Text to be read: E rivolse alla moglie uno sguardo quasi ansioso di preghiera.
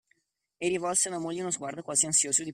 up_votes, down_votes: 0, 2